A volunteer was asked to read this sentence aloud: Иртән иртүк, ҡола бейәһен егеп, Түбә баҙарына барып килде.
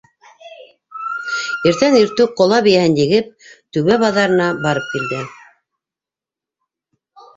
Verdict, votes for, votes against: accepted, 2, 1